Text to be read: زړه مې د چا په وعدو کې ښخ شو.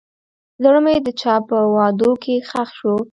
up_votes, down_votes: 2, 0